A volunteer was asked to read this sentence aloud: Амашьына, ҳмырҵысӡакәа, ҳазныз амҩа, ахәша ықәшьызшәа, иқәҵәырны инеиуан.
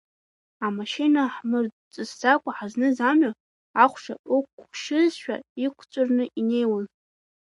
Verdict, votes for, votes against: rejected, 0, 2